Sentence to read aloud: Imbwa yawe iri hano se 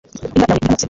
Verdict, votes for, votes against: rejected, 1, 2